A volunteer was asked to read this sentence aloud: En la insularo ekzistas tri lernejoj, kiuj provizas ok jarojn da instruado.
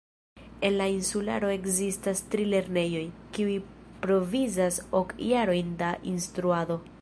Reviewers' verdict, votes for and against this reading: rejected, 1, 2